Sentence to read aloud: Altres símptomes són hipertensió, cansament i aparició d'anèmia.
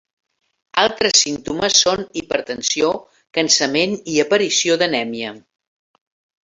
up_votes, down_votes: 2, 0